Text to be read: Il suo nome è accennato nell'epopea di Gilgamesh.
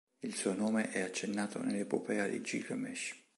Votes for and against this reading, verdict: 2, 0, accepted